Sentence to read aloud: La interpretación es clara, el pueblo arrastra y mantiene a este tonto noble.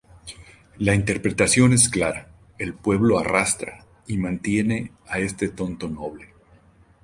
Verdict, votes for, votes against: accepted, 4, 0